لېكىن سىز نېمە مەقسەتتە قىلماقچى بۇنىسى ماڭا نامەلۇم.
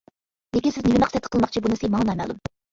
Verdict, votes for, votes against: rejected, 1, 2